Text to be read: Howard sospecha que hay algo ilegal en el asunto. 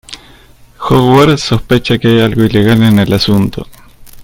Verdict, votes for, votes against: rejected, 1, 2